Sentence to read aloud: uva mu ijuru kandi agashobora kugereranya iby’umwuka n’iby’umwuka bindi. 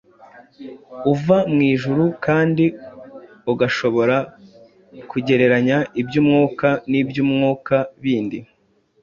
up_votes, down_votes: 0, 2